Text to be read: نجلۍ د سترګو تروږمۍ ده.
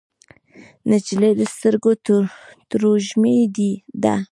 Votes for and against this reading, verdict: 0, 2, rejected